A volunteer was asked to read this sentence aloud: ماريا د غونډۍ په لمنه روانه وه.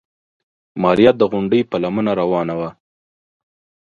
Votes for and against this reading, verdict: 2, 0, accepted